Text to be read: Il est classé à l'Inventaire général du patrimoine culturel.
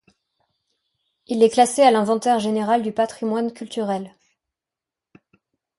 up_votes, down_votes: 2, 0